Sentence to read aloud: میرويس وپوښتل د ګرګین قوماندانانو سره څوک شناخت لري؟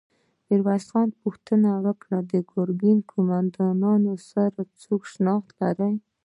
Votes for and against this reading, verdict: 0, 2, rejected